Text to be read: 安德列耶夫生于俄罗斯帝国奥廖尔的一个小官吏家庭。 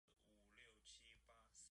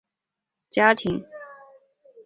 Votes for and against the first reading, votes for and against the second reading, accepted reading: 2, 1, 1, 5, first